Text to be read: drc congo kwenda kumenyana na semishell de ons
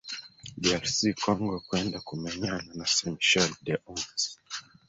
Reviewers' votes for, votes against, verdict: 1, 2, rejected